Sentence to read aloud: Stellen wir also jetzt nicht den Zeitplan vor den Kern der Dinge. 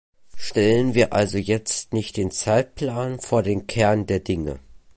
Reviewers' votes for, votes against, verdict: 2, 0, accepted